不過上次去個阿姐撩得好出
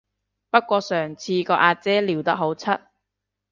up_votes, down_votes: 0, 2